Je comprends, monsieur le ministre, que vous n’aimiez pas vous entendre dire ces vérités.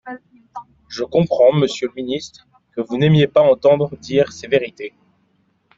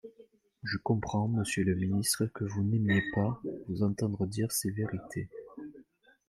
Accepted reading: first